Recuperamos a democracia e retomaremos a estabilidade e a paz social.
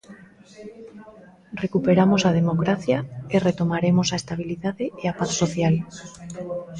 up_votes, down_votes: 0, 2